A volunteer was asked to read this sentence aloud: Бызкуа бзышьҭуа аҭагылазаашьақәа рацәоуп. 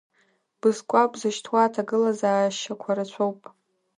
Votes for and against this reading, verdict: 2, 0, accepted